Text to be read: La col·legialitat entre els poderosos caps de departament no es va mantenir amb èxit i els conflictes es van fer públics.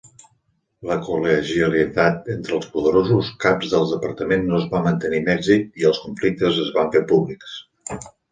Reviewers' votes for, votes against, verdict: 2, 1, accepted